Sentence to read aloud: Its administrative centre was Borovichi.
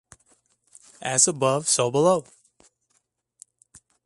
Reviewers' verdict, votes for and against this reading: rejected, 0, 2